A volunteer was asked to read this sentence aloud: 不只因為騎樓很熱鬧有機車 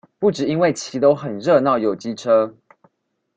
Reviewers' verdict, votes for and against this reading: accepted, 2, 0